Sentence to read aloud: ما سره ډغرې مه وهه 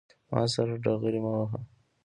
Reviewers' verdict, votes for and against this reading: accepted, 2, 0